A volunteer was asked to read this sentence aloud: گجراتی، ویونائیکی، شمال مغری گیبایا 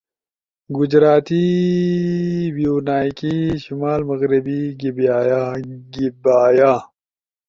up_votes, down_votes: 2, 0